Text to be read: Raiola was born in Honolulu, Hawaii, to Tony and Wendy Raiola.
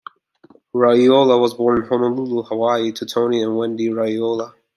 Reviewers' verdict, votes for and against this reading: accepted, 2, 0